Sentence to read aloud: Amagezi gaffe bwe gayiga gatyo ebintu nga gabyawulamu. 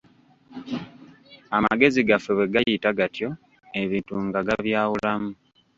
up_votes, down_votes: 1, 2